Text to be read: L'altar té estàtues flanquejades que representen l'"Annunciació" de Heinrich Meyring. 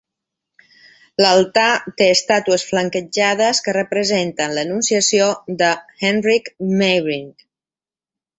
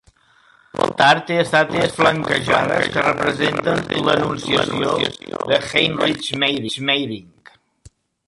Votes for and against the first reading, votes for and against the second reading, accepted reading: 4, 1, 0, 2, first